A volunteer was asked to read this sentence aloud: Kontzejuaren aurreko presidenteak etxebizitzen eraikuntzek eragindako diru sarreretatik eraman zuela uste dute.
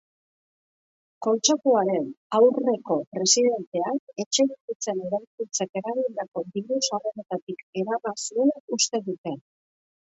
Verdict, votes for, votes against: rejected, 1, 2